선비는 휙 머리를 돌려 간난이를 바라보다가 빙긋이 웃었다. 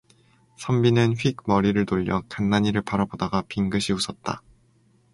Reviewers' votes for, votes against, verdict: 2, 0, accepted